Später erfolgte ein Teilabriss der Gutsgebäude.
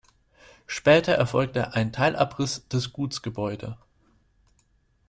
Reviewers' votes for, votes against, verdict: 0, 2, rejected